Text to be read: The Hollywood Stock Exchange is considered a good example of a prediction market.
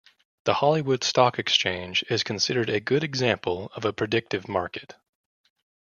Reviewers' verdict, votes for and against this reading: rejected, 1, 2